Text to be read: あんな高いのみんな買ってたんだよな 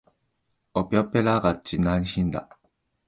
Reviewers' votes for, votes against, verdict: 2, 3, rejected